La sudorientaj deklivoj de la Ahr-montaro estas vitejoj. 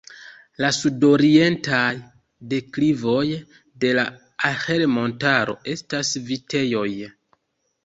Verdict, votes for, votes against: rejected, 0, 2